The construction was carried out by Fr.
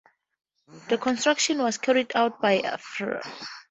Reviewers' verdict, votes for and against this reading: accepted, 4, 0